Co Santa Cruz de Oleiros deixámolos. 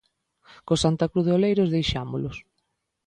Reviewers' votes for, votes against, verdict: 2, 0, accepted